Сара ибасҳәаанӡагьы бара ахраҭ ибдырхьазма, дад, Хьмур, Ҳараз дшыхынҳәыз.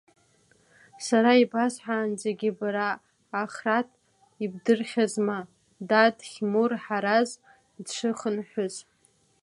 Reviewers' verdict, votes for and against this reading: accepted, 2, 1